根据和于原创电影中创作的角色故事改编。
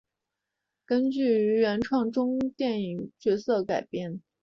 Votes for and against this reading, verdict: 2, 3, rejected